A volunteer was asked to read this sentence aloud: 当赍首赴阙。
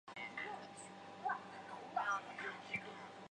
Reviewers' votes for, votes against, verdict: 2, 1, accepted